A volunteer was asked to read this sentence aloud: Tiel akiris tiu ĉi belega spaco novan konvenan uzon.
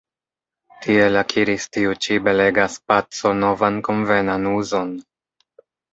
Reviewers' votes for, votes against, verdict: 0, 2, rejected